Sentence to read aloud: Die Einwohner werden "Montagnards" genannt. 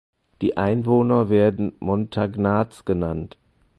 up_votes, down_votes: 4, 2